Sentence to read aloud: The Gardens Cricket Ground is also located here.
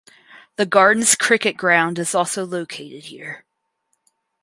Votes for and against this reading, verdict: 4, 0, accepted